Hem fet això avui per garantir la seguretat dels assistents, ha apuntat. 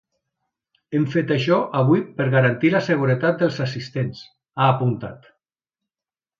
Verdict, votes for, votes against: accepted, 2, 0